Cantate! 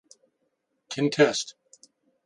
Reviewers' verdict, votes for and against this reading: rejected, 0, 2